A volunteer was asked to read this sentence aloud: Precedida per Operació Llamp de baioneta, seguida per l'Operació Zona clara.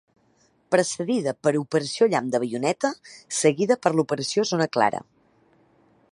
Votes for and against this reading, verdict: 2, 0, accepted